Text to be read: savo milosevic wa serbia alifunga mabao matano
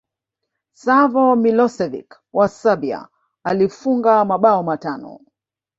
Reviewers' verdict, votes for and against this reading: rejected, 0, 2